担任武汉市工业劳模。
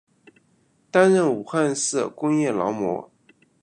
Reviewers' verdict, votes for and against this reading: accepted, 2, 1